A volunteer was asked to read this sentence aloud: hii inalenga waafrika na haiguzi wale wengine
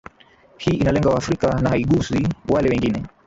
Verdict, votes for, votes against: rejected, 1, 2